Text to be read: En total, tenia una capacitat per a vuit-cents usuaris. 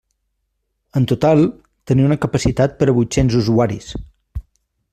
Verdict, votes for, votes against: accepted, 2, 0